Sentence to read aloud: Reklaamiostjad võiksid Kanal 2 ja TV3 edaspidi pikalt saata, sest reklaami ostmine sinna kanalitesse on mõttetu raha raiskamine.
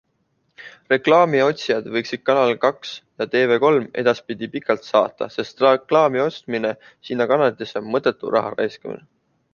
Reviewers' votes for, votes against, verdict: 0, 2, rejected